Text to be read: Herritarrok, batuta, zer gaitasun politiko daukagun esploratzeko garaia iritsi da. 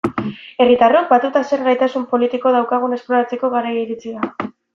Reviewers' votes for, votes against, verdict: 2, 0, accepted